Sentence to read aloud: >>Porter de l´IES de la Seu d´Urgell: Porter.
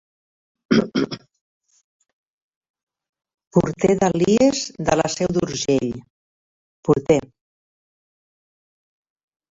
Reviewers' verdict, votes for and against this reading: rejected, 2, 4